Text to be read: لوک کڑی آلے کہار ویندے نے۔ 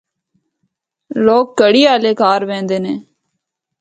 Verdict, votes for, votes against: rejected, 0, 2